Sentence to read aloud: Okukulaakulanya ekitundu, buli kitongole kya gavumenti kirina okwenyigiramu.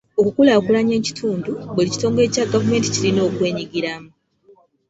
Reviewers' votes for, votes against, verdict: 2, 0, accepted